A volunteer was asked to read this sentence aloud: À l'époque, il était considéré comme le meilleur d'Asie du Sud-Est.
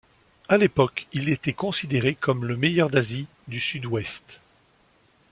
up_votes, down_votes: 0, 2